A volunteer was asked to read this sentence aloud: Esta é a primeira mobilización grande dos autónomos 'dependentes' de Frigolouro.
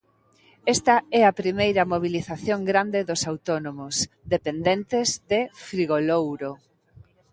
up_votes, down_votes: 2, 0